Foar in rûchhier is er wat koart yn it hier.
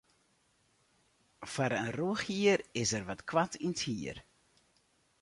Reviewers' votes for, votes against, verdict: 2, 2, rejected